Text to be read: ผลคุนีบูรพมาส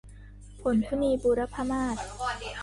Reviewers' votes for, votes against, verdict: 0, 2, rejected